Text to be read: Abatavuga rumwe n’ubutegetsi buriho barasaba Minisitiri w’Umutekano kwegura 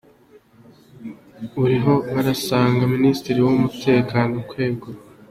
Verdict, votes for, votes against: rejected, 1, 2